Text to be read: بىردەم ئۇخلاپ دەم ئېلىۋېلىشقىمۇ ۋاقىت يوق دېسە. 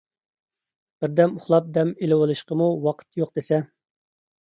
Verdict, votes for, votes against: accepted, 2, 0